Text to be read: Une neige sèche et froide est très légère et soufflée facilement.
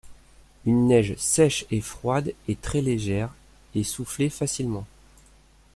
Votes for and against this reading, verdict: 2, 0, accepted